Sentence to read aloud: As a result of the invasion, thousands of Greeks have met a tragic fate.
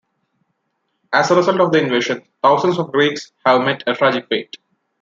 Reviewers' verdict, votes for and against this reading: accepted, 2, 0